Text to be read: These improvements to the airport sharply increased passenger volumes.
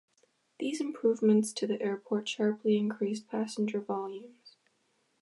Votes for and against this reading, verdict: 2, 0, accepted